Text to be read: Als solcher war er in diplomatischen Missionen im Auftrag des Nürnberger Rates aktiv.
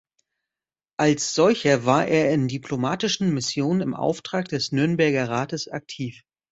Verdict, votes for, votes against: accepted, 2, 0